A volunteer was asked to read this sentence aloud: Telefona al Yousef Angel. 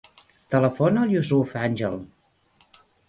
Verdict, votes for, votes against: rejected, 0, 2